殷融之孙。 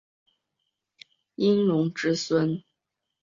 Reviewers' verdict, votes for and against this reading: accepted, 2, 0